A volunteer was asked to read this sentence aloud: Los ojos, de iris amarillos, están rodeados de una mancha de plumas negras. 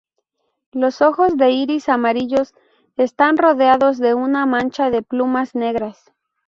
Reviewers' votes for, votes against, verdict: 4, 0, accepted